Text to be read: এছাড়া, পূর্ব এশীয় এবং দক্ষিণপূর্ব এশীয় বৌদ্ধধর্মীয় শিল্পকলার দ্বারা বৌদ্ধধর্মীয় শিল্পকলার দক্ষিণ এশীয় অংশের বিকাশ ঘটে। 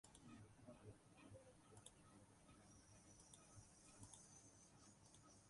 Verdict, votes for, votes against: rejected, 0, 6